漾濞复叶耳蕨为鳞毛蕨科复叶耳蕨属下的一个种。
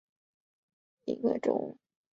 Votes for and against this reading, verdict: 1, 3, rejected